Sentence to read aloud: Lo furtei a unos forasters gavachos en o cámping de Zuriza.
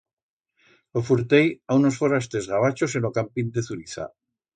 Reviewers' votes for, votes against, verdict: 2, 0, accepted